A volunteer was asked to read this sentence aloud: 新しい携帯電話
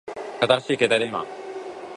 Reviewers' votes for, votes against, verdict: 2, 0, accepted